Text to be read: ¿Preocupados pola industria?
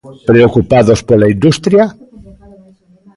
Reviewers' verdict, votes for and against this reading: accepted, 2, 0